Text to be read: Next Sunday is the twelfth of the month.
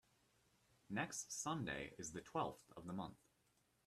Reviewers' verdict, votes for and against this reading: accepted, 2, 0